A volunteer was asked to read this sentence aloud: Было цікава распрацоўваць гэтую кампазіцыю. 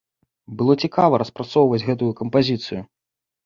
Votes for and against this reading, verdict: 2, 0, accepted